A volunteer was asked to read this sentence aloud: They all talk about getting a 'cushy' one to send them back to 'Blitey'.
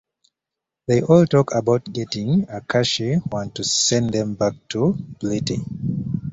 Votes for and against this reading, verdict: 2, 1, accepted